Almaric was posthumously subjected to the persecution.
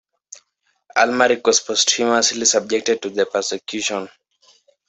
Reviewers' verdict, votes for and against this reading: accepted, 2, 0